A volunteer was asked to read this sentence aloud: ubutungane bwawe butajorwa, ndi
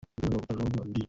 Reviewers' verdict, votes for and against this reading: rejected, 0, 2